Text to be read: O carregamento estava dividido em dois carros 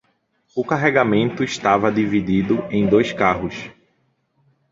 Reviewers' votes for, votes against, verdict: 2, 0, accepted